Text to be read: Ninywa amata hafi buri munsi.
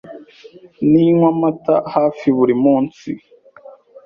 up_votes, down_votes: 2, 0